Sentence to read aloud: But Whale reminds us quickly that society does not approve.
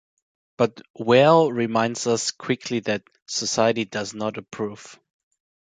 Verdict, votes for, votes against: accepted, 2, 0